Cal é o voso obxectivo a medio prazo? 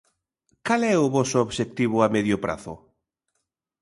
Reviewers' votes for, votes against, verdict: 2, 0, accepted